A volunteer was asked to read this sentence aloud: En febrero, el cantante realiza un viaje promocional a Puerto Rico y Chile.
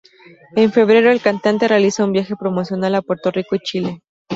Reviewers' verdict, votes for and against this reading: accepted, 2, 0